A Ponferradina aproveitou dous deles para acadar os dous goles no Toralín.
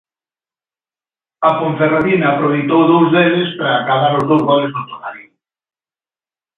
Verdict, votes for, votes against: accepted, 2, 0